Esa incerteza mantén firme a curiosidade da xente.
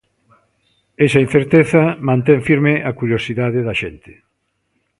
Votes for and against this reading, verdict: 2, 0, accepted